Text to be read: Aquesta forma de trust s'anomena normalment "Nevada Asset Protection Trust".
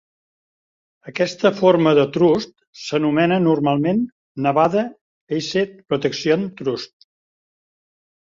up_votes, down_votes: 1, 2